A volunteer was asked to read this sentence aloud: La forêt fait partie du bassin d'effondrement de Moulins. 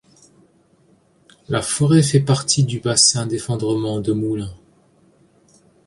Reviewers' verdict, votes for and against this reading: accepted, 2, 0